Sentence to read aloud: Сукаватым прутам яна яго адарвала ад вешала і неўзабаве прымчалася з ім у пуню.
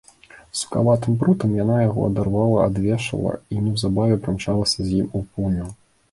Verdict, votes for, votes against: accepted, 3, 1